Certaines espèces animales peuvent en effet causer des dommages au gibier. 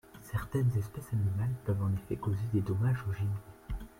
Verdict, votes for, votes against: accepted, 3, 0